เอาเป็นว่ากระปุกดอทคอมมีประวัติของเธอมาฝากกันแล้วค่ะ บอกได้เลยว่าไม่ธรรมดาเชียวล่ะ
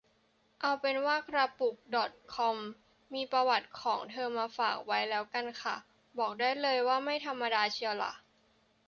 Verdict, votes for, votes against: rejected, 0, 2